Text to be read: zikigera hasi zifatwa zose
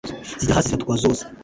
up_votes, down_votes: 0, 2